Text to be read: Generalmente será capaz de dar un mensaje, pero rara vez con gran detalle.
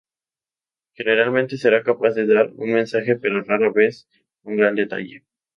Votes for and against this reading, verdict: 2, 0, accepted